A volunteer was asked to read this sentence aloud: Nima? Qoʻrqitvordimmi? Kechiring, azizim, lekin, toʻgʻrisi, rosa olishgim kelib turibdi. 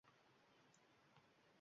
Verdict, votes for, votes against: rejected, 1, 2